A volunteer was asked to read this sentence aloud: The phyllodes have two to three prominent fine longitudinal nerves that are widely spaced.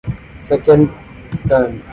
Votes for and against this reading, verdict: 1, 2, rejected